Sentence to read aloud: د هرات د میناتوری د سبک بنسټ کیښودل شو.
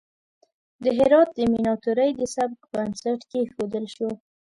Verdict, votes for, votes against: accepted, 2, 0